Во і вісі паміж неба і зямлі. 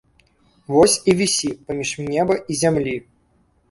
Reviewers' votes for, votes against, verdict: 1, 3, rejected